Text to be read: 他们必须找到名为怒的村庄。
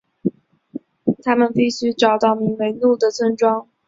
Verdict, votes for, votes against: accepted, 2, 0